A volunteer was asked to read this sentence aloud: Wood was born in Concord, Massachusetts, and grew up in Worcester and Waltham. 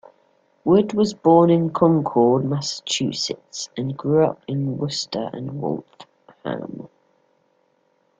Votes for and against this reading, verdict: 0, 2, rejected